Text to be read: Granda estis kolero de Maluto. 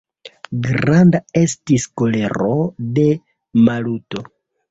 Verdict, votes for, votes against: accepted, 2, 0